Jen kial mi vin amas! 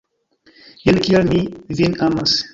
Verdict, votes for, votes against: rejected, 1, 2